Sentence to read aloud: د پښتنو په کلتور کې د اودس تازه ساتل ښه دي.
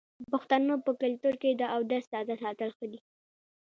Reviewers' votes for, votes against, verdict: 2, 0, accepted